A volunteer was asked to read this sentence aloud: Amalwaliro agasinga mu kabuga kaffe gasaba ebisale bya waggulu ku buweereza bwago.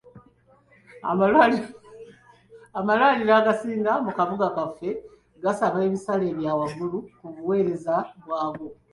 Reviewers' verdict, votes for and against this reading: accepted, 2, 0